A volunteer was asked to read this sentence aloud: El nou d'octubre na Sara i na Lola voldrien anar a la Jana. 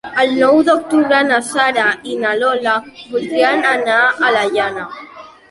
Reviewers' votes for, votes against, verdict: 2, 0, accepted